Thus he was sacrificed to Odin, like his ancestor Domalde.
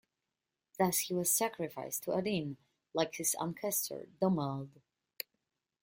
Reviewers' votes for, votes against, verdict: 2, 0, accepted